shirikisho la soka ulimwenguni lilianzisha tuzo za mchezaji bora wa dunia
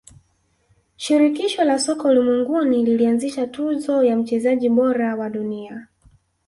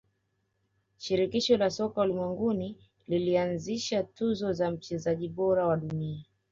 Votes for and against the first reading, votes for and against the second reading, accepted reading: 1, 2, 3, 1, second